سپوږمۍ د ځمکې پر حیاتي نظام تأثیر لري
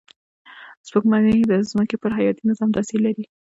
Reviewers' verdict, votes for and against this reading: rejected, 1, 2